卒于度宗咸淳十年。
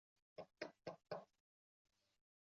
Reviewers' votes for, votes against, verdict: 0, 4, rejected